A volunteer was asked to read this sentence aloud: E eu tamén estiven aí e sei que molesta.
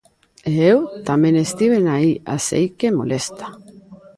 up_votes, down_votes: 0, 2